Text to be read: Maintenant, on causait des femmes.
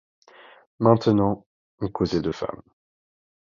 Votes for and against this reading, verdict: 1, 2, rejected